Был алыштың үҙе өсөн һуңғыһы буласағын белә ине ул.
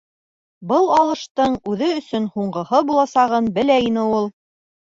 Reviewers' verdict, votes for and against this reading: accepted, 2, 0